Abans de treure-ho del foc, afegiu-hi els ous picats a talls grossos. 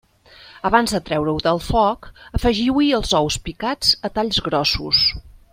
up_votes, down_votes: 3, 0